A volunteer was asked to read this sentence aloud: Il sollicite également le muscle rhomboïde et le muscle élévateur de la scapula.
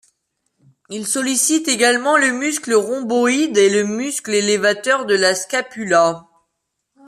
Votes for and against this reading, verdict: 2, 0, accepted